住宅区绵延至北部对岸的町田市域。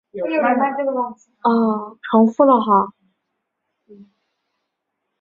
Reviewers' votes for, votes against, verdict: 0, 2, rejected